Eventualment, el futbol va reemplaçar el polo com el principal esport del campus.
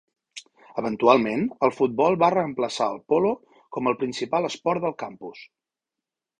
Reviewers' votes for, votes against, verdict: 2, 0, accepted